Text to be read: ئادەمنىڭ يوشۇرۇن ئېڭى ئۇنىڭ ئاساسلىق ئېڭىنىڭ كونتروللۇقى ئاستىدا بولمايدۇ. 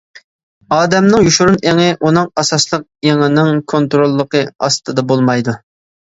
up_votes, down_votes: 2, 0